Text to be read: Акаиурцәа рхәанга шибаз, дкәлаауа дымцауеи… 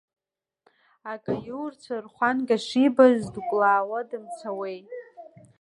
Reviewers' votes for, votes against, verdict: 2, 0, accepted